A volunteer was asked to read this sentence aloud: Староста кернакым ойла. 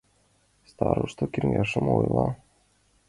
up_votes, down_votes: 0, 2